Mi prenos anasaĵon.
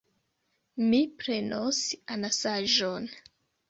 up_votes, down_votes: 2, 0